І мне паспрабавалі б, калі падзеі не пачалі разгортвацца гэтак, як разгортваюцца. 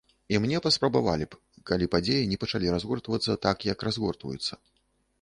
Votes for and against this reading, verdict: 0, 2, rejected